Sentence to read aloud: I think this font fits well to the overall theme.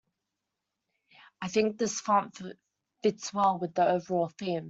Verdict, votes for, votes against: rejected, 1, 2